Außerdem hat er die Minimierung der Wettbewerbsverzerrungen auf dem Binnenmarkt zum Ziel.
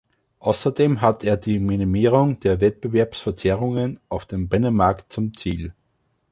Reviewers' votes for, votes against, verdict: 3, 0, accepted